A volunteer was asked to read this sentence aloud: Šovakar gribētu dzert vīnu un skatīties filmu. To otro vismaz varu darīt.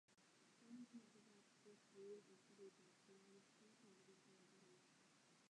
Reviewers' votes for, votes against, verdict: 0, 2, rejected